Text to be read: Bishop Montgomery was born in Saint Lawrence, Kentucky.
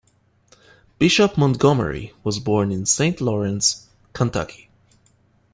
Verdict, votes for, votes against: accepted, 2, 0